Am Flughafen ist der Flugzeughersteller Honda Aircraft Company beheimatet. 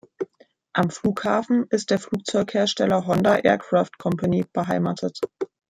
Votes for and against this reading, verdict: 2, 0, accepted